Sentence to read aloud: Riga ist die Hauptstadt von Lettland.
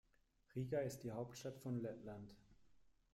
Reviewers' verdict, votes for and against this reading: accepted, 2, 0